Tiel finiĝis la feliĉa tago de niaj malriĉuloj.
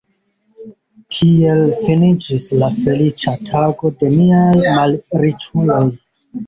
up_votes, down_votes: 1, 2